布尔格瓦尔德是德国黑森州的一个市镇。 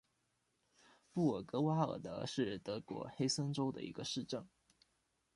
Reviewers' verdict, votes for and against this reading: rejected, 1, 2